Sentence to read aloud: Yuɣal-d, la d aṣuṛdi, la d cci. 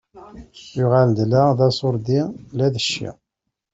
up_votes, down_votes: 1, 2